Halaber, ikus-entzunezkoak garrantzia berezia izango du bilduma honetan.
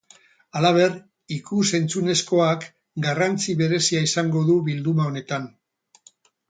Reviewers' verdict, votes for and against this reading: rejected, 0, 4